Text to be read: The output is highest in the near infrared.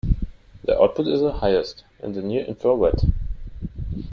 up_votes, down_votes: 0, 2